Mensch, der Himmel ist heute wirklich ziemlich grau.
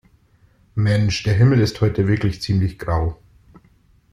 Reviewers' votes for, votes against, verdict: 2, 0, accepted